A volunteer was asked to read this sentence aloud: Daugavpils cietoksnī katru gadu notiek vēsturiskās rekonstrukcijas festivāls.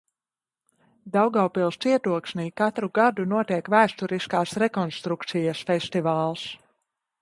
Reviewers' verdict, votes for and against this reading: rejected, 1, 2